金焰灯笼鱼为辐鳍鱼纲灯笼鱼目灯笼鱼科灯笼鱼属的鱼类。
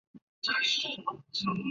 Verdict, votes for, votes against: rejected, 0, 2